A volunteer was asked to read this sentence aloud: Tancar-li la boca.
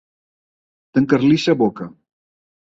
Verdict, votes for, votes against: rejected, 0, 2